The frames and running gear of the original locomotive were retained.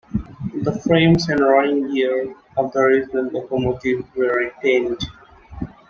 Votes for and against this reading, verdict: 0, 2, rejected